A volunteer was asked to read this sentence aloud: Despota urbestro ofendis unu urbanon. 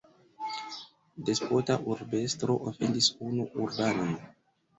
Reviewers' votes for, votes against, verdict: 2, 1, accepted